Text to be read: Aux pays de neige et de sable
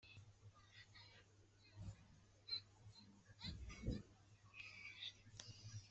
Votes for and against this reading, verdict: 0, 2, rejected